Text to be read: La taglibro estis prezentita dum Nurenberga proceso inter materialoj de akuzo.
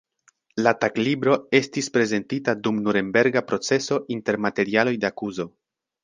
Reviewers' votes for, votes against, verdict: 0, 2, rejected